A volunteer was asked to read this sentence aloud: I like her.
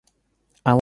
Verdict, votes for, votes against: rejected, 0, 2